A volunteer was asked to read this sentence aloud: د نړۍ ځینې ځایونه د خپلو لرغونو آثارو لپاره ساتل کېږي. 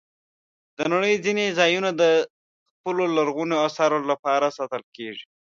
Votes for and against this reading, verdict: 2, 0, accepted